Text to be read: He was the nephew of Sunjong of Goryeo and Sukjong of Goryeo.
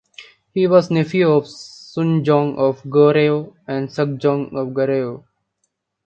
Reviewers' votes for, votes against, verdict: 0, 2, rejected